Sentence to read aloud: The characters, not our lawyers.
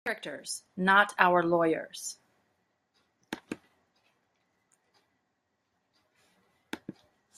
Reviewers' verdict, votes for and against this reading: rejected, 1, 2